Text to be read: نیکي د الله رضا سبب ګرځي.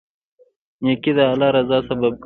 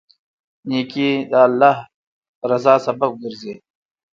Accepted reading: first